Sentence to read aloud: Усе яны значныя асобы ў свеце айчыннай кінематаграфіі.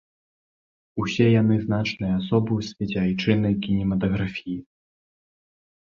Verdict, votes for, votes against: accepted, 2, 1